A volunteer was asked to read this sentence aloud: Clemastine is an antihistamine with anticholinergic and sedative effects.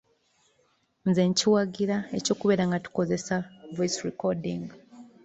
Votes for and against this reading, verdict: 0, 2, rejected